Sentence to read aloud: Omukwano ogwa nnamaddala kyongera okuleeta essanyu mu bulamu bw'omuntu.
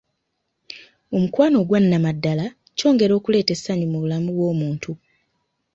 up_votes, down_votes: 2, 0